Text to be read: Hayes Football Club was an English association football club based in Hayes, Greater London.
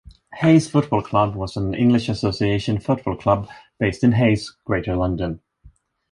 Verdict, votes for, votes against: accepted, 3, 0